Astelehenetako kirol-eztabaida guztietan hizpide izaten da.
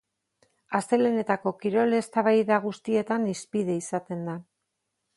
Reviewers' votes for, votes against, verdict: 4, 0, accepted